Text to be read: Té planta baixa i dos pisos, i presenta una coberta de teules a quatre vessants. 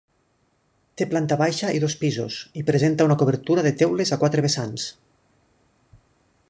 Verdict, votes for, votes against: rejected, 0, 2